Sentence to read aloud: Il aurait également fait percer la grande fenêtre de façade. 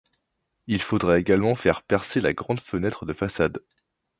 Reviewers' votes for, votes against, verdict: 0, 2, rejected